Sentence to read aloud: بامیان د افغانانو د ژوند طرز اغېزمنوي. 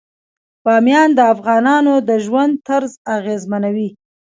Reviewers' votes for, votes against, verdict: 2, 1, accepted